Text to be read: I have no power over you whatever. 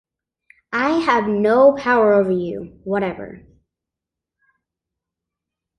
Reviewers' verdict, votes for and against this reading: accepted, 2, 0